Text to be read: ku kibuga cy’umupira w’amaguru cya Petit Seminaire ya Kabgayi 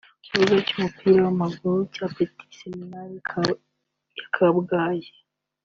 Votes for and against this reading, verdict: 2, 1, accepted